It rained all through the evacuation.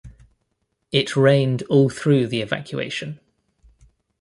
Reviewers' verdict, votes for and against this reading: accepted, 2, 0